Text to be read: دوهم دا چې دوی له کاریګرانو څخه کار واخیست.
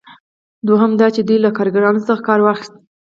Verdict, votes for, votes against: accepted, 4, 0